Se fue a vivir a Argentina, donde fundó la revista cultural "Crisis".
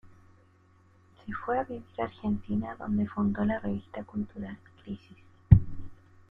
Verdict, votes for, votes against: accepted, 2, 0